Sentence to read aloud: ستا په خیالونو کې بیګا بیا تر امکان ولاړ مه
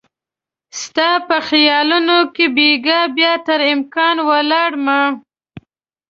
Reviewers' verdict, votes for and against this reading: accepted, 2, 0